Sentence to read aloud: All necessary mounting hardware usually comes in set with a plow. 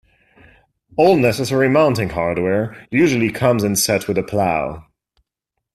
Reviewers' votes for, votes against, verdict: 2, 0, accepted